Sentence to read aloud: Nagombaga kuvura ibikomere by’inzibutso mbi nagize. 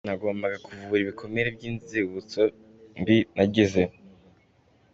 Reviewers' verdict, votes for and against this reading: accepted, 2, 0